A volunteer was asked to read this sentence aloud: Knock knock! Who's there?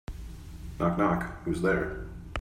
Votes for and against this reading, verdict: 2, 0, accepted